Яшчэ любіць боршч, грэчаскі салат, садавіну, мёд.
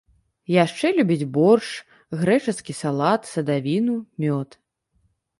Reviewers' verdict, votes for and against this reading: rejected, 1, 2